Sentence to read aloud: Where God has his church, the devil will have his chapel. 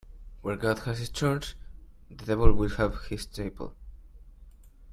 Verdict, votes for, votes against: accepted, 2, 0